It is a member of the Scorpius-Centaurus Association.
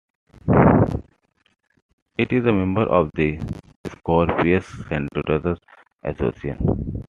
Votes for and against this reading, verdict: 2, 1, accepted